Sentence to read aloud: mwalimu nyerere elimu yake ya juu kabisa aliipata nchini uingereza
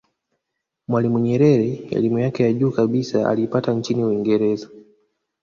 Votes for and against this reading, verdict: 1, 2, rejected